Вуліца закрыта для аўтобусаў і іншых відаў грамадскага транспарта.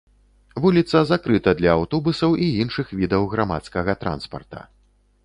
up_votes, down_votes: 2, 0